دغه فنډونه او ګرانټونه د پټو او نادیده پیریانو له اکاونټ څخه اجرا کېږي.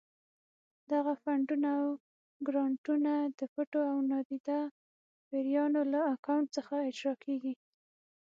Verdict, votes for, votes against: rejected, 0, 6